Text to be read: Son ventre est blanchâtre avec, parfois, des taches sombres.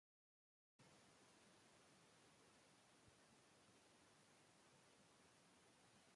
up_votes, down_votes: 0, 2